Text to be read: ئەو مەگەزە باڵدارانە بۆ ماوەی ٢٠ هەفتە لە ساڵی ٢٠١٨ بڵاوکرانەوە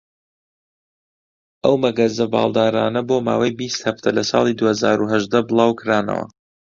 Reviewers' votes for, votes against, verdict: 0, 2, rejected